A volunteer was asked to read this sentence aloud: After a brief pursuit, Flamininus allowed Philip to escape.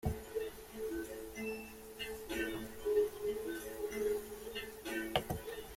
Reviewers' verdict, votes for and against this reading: rejected, 0, 2